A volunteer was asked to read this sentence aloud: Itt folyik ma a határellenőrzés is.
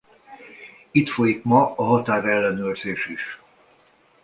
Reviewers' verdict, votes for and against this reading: accepted, 2, 0